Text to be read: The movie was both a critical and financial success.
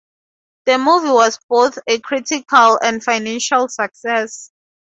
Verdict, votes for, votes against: rejected, 2, 2